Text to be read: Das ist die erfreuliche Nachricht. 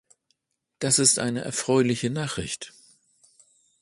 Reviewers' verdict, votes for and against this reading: rejected, 0, 2